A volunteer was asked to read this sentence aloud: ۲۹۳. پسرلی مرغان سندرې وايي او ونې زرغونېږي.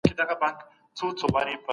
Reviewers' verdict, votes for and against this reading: rejected, 0, 2